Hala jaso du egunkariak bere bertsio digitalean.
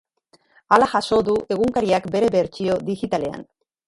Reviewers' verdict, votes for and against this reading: rejected, 2, 2